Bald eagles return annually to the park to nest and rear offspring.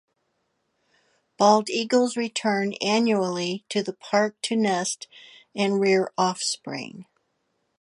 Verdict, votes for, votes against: accepted, 2, 0